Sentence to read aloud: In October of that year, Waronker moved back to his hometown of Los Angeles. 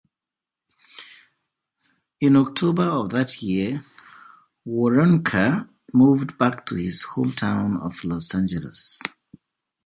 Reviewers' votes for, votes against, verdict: 2, 0, accepted